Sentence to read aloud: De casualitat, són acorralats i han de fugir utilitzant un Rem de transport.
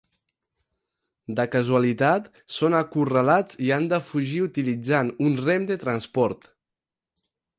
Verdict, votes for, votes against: accepted, 4, 0